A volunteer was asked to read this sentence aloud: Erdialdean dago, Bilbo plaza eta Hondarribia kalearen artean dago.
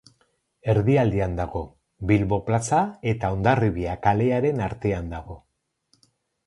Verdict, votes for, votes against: accepted, 2, 0